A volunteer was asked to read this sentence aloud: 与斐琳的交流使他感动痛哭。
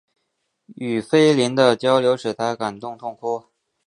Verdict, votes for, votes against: accepted, 10, 0